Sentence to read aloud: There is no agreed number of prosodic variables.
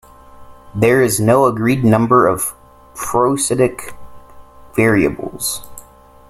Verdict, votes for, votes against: rejected, 1, 2